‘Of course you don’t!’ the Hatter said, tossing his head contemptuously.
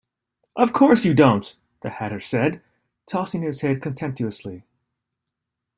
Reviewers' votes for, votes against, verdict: 2, 0, accepted